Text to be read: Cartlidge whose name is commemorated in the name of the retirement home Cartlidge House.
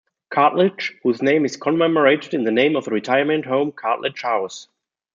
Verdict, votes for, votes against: rejected, 1, 2